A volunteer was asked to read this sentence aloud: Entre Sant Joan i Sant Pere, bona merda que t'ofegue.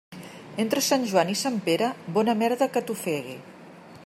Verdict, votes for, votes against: rejected, 1, 2